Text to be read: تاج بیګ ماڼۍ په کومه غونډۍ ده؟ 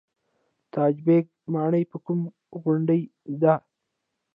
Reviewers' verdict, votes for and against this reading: rejected, 0, 2